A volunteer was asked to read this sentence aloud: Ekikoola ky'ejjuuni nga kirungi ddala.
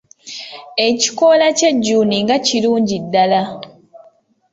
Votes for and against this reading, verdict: 2, 0, accepted